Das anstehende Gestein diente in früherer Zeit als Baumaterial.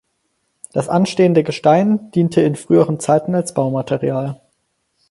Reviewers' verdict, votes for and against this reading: rejected, 2, 4